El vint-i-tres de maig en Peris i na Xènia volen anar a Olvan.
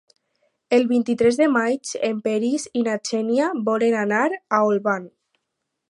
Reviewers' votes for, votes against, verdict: 4, 0, accepted